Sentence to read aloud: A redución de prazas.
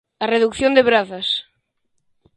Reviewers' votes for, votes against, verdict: 0, 2, rejected